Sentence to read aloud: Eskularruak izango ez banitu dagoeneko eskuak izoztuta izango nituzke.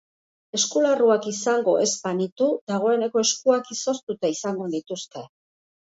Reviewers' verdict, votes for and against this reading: accepted, 2, 0